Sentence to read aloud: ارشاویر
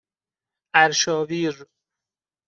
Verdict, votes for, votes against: accepted, 2, 0